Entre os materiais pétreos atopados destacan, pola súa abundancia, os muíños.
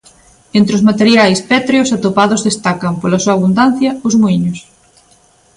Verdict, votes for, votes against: accepted, 2, 0